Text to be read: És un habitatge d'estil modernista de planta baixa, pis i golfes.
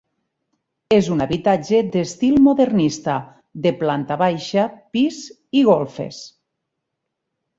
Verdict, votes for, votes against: accepted, 6, 0